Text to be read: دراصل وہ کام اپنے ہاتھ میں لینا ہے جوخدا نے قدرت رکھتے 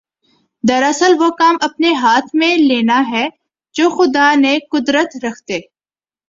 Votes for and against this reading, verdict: 2, 0, accepted